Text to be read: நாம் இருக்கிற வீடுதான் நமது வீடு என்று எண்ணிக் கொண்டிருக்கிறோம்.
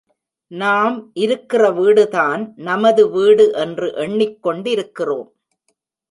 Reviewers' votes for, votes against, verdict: 1, 2, rejected